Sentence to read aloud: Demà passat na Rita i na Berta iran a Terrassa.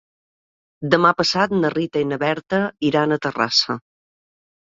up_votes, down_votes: 3, 0